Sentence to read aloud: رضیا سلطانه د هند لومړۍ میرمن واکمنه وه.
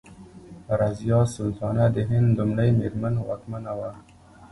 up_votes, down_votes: 1, 2